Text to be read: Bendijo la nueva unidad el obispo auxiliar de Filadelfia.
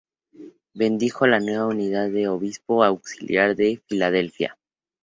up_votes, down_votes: 0, 2